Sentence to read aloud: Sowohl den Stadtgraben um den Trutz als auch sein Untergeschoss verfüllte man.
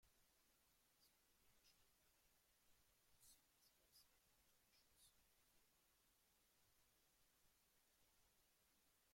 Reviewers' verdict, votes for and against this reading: rejected, 0, 2